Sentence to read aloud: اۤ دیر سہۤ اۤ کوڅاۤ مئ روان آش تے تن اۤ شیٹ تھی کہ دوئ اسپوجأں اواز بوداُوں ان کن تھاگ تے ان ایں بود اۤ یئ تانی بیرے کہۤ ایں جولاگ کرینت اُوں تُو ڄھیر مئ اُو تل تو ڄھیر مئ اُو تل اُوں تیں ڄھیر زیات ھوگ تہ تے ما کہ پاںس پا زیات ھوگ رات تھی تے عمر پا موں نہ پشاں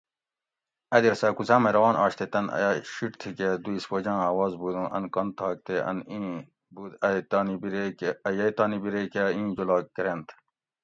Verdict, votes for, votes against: rejected, 0, 2